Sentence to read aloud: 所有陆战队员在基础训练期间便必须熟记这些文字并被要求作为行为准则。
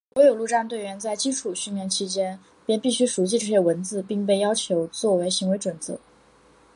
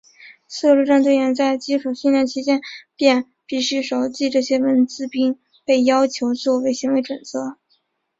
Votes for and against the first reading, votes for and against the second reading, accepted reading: 2, 1, 0, 2, first